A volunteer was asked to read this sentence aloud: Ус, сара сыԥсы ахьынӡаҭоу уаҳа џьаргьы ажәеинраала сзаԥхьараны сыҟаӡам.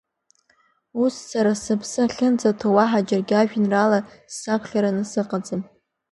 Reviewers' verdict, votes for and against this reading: accepted, 2, 1